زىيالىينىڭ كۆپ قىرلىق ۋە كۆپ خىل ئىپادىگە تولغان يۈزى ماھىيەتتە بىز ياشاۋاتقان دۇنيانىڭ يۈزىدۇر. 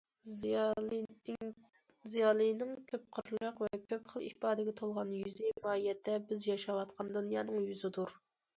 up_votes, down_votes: 0, 2